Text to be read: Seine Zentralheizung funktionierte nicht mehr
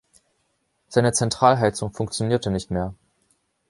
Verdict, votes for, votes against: accepted, 2, 0